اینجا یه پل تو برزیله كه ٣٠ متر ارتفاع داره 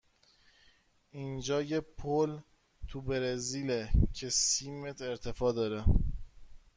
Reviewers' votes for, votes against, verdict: 0, 2, rejected